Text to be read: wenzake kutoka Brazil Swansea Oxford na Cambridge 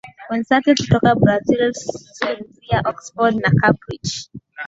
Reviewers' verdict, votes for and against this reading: accepted, 2, 1